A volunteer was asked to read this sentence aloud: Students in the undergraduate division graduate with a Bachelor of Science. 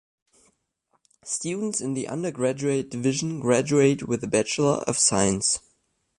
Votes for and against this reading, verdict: 2, 0, accepted